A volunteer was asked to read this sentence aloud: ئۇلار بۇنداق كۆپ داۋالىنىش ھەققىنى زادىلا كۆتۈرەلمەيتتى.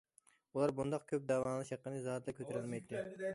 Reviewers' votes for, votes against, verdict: 1, 2, rejected